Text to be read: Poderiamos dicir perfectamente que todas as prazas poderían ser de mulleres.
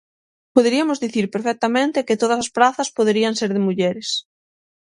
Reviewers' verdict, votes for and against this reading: rejected, 0, 6